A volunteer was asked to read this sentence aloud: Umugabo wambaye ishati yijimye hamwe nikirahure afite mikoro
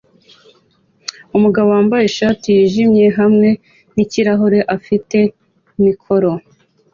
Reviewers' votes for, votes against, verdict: 2, 0, accepted